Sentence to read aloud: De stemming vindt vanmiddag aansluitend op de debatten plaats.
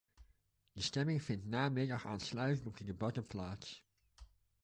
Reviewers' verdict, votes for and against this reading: rejected, 0, 2